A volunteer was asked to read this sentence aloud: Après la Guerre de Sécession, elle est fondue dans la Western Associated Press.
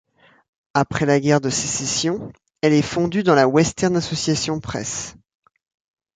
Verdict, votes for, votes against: rejected, 0, 2